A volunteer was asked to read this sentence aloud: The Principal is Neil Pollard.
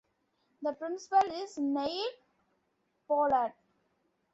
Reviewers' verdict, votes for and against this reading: accepted, 2, 1